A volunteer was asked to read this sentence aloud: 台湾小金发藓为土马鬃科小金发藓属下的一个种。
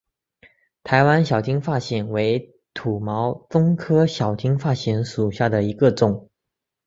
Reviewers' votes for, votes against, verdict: 0, 2, rejected